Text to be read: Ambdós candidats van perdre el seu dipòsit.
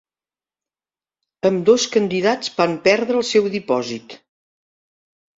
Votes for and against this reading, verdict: 4, 0, accepted